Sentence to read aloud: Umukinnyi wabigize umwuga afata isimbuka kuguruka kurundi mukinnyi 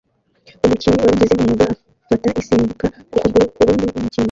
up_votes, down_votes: 1, 2